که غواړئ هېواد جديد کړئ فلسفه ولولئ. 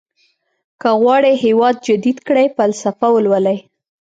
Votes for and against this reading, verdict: 2, 0, accepted